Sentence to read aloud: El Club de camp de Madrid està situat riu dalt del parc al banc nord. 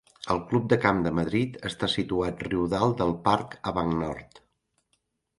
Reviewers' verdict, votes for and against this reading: rejected, 1, 2